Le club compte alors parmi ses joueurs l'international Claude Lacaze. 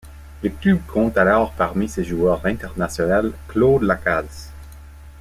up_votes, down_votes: 1, 2